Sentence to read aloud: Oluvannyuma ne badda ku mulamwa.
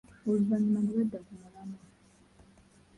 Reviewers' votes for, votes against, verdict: 0, 2, rejected